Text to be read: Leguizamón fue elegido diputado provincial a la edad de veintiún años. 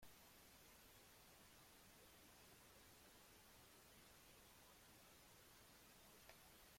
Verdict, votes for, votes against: rejected, 0, 2